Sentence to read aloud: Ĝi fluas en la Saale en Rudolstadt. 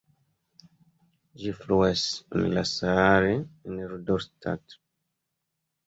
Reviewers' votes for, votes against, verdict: 2, 0, accepted